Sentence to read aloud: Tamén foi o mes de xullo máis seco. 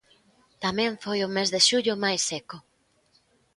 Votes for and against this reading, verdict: 2, 0, accepted